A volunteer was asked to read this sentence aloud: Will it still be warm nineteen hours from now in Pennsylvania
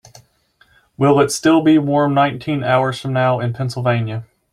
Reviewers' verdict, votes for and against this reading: accepted, 3, 0